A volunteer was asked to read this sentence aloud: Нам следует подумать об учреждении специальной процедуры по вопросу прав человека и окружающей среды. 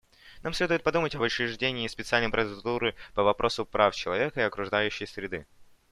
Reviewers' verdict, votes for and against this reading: rejected, 0, 2